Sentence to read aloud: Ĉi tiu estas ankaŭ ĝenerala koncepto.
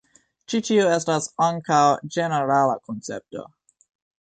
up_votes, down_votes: 2, 0